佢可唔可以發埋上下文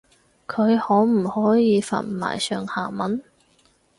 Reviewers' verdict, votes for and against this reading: accepted, 4, 0